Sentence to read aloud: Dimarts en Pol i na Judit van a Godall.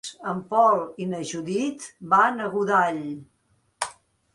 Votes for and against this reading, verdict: 0, 2, rejected